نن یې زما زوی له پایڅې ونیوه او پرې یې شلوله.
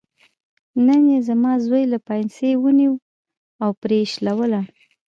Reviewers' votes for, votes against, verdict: 2, 0, accepted